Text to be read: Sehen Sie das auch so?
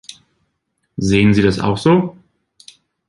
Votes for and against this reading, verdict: 4, 0, accepted